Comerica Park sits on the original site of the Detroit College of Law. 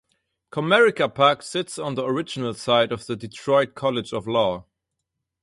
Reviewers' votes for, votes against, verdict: 2, 0, accepted